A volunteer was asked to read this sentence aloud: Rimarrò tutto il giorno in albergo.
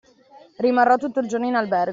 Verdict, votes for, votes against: rejected, 0, 2